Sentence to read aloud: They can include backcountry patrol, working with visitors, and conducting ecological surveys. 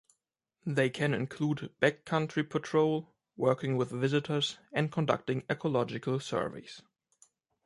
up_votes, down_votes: 2, 0